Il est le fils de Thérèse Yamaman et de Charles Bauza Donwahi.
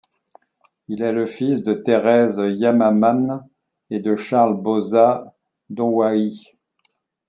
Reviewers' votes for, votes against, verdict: 2, 0, accepted